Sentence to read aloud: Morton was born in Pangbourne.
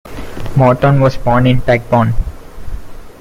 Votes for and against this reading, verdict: 1, 2, rejected